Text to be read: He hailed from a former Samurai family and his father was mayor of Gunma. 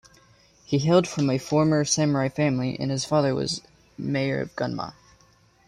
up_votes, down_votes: 2, 0